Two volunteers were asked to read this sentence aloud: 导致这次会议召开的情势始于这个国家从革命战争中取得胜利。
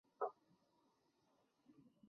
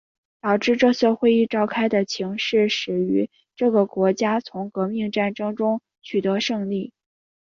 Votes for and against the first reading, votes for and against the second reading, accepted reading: 1, 4, 2, 0, second